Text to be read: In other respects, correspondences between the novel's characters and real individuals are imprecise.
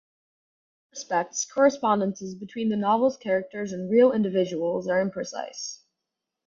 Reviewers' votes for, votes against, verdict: 2, 2, rejected